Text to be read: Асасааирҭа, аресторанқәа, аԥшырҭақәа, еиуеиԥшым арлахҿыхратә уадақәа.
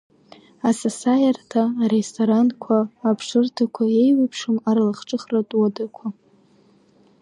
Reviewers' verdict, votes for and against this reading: accepted, 2, 0